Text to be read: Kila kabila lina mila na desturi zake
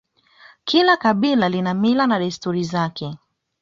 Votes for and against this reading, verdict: 2, 0, accepted